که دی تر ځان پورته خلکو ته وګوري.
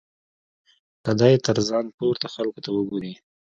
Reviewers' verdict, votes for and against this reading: accepted, 2, 0